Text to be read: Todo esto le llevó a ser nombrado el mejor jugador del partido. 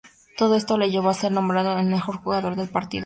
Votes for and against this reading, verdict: 2, 0, accepted